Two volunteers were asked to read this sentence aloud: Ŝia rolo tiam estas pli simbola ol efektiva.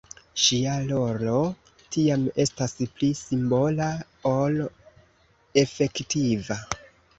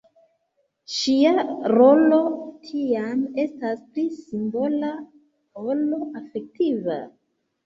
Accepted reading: second